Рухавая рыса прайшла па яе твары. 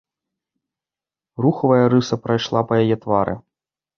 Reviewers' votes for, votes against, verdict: 1, 2, rejected